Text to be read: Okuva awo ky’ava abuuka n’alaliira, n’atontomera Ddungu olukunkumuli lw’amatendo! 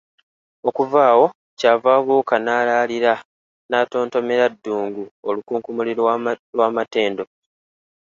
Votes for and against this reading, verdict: 2, 0, accepted